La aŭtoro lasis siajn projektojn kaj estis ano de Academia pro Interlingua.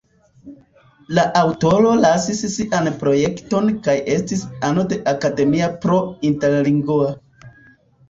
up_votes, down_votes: 1, 2